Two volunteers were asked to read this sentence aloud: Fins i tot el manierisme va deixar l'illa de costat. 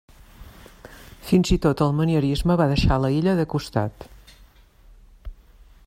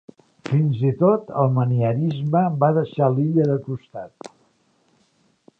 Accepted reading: second